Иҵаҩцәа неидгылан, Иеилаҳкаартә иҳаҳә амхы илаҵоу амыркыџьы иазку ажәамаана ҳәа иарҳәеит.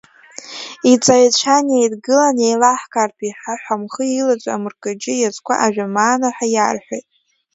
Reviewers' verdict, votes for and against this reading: rejected, 1, 2